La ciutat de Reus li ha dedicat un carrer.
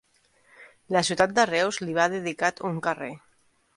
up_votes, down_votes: 0, 2